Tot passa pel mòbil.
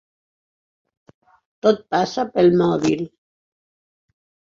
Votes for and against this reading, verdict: 8, 0, accepted